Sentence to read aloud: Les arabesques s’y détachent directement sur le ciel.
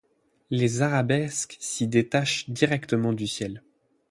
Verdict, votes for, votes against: rejected, 0, 8